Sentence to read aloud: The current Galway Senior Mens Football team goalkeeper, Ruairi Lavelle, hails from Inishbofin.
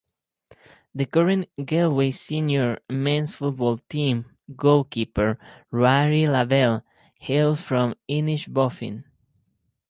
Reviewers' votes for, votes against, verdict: 4, 0, accepted